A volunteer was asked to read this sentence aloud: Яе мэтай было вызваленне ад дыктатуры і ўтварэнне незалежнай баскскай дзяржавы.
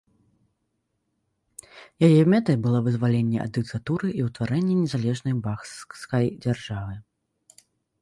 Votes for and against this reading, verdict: 0, 2, rejected